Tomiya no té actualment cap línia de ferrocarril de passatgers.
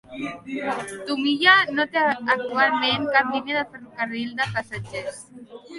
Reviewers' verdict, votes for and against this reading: rejected, 1, 2